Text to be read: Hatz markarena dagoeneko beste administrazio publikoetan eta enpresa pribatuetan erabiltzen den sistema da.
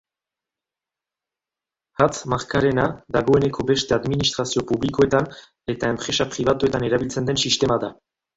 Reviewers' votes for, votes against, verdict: 3, 0, accepted